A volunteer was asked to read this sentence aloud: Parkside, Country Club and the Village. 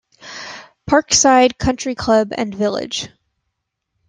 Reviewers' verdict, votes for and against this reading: rejected, 0, 2